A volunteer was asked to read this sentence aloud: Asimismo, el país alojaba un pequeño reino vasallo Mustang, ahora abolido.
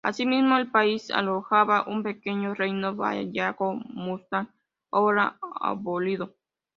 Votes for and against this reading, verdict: 0, 3, rejected